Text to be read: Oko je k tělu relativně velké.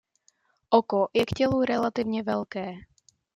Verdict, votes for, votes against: accepted, 2, 0